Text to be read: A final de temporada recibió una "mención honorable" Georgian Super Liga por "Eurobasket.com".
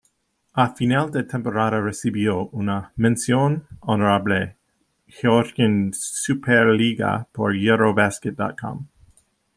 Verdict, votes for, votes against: accepted, 2, 0